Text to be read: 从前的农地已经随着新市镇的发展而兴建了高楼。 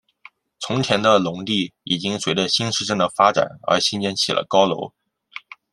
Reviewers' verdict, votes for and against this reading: rejected, 1, 2